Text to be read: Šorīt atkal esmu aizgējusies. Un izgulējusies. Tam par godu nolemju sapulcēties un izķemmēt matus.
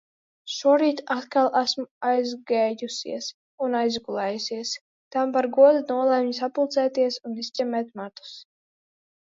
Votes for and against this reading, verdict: 2, 1, accepted